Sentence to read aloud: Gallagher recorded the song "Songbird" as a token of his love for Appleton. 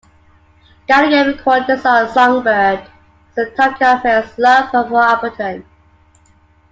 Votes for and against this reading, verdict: 1, 2, rejected